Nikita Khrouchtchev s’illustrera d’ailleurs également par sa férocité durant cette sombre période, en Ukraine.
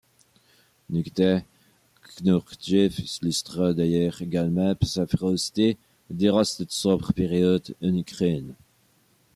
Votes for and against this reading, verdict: 1, 2, rejected